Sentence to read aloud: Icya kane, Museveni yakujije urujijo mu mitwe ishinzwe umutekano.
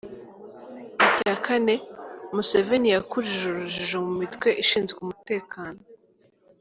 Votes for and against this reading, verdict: 1, 2, rejected